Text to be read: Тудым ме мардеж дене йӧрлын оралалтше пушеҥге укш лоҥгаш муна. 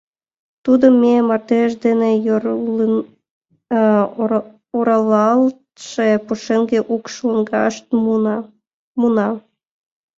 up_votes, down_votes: 0, 4